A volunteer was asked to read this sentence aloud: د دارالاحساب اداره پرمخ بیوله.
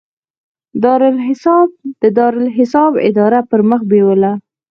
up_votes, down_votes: 2, 4